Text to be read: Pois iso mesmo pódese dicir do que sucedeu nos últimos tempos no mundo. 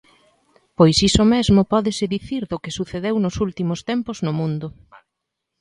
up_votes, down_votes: 2, 0